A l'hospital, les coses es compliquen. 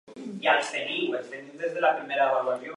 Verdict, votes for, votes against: rejected, 1, 2